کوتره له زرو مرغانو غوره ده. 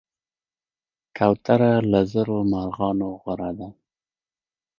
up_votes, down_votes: 0, 2